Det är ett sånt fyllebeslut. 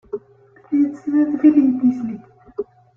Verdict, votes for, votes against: rejected, 0, 2